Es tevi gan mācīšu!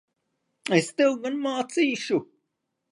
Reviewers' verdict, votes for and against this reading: rejected, 1, 2